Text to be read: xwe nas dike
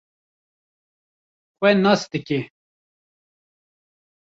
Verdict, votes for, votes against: rejected, 1, 2